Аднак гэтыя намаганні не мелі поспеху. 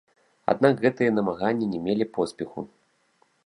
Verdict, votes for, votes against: rejected, 1, 2